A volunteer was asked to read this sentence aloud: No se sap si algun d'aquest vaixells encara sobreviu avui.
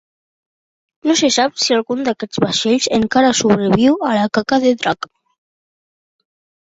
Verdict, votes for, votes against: rejected, 0, 2